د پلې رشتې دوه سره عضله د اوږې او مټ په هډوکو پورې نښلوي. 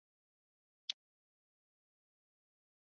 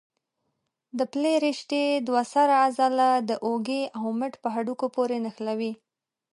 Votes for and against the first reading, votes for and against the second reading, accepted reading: 0, 2, 2, 1, second